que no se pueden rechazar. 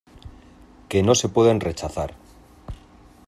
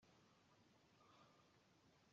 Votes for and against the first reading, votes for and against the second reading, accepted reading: 2, 0, 0, 2, first